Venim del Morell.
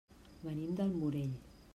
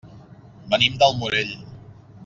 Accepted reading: second